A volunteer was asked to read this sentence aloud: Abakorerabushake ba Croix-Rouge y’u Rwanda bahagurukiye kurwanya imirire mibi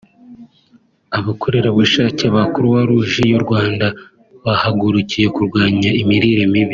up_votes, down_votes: 2, 0